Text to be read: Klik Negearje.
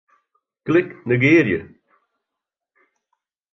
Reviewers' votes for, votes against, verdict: 2, 0, accepted